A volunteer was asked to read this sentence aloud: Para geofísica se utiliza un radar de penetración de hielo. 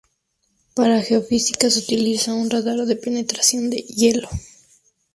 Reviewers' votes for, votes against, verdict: 2, 0, accepted